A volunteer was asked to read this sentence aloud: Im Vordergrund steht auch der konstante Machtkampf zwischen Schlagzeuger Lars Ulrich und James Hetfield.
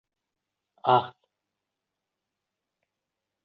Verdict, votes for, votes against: rejected, 0, 2